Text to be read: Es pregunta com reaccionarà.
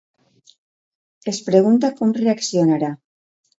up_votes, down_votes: 2, 0